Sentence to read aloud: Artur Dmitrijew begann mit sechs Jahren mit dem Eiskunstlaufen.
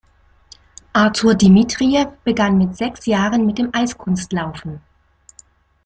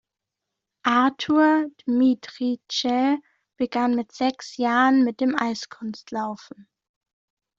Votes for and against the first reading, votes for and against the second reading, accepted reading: 2, 0, 0, 2, first